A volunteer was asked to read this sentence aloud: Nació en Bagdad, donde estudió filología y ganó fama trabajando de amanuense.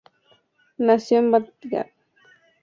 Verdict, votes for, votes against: rejected, 2, 2